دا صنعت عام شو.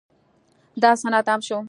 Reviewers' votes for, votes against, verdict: 1, 2, rejected